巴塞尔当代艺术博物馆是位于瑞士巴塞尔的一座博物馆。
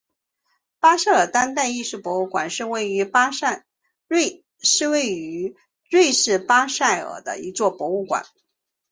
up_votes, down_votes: 0, 2